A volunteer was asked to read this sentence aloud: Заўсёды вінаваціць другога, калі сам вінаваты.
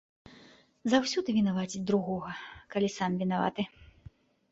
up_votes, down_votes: 2, 0